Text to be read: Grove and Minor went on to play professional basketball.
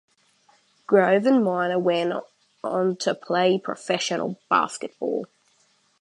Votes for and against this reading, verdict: 2, 0, accepted